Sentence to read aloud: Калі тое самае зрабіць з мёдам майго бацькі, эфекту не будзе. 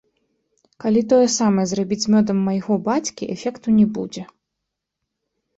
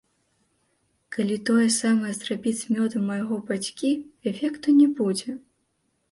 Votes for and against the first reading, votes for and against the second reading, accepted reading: 2, 1, 0, 2, first